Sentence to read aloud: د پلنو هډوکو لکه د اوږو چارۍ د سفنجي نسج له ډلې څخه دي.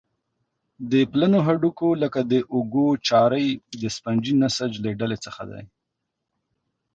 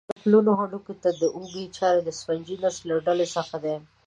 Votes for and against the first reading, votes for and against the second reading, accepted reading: 2, 0, 1, 2, first